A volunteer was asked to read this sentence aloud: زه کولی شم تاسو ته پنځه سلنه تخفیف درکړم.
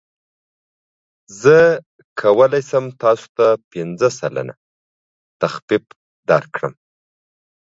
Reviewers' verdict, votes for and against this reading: accepted, 2, 0